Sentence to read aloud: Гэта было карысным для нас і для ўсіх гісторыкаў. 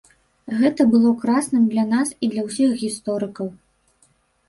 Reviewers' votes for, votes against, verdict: 1, 2, rejected